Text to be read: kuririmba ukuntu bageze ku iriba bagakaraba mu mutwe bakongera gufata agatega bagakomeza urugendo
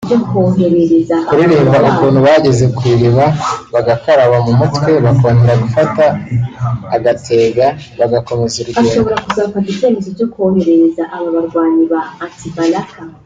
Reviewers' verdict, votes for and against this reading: rejected, 1, 2